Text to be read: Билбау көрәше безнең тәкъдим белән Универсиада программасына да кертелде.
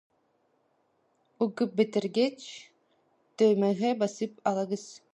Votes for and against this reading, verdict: 0, 2, rejected